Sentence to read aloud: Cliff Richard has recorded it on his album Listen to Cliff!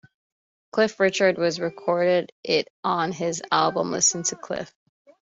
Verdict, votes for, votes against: rejected, 0, 2